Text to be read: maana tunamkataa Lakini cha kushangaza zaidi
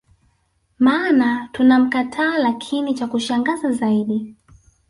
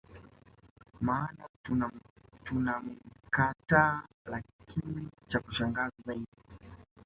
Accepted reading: first